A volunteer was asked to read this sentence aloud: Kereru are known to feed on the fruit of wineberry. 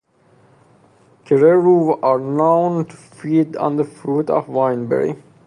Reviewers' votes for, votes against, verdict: 2, 0, accepted